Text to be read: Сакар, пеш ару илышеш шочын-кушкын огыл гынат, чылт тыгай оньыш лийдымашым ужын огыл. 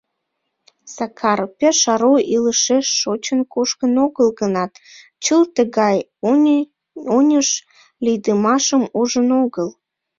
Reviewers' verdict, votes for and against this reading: rejected, 0, 2